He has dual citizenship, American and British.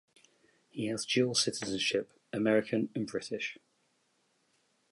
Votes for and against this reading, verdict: 2, 0, accepted